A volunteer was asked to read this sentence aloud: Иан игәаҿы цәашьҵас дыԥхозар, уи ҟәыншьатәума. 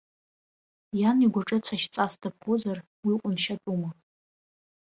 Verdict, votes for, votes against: accepted, 2, 0